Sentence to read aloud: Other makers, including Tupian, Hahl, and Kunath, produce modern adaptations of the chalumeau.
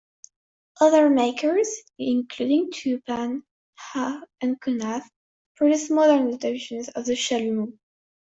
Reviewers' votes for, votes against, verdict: 1, 2, rejected